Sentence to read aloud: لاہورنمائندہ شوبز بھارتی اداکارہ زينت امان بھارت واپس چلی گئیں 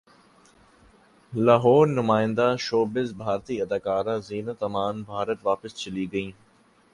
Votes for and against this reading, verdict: 1, 2, rejected